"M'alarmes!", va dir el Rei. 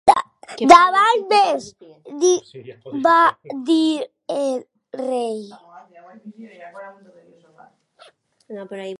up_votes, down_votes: 0, 2